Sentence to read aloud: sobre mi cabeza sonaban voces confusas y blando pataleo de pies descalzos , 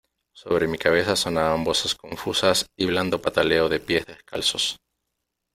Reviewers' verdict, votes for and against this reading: accepted, 2, 1